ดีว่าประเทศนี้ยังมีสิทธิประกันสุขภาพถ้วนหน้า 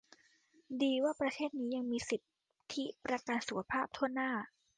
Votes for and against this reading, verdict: 2, 0, accepted